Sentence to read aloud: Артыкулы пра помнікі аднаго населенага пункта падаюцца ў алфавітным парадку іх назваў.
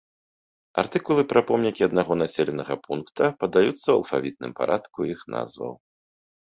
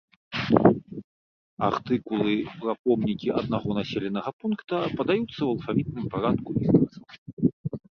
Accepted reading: first